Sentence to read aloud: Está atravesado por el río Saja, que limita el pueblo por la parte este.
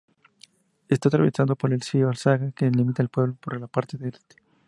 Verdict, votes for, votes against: rejected, 0, 4